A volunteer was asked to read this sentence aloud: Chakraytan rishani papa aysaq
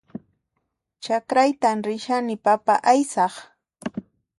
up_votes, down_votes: 2, 0